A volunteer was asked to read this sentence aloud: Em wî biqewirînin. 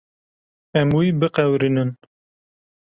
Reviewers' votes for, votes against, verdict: 2, 0, accepted